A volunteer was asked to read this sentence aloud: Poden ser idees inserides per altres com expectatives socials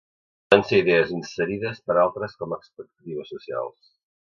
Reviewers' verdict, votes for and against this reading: rejected, 0, 2